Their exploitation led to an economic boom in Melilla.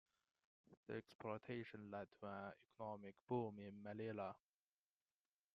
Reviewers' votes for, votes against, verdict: 1, 2, rejected